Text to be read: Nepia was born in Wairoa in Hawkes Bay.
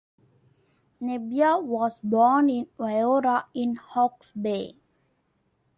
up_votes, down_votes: 1, 2